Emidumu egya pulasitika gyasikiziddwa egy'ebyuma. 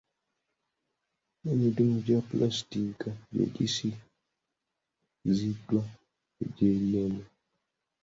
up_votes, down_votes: 0, 2